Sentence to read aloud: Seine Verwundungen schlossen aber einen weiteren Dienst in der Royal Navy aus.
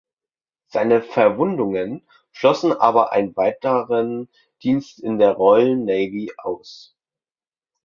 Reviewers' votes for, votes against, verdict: 1, 2, rejected